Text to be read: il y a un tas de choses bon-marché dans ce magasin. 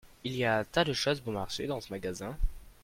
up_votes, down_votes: 2, 0